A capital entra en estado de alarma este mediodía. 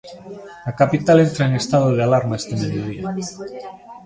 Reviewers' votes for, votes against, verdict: 2, 0, accepted